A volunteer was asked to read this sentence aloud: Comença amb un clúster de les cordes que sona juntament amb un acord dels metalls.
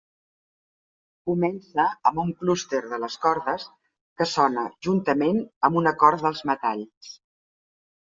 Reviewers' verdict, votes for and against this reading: accepted, 2, 0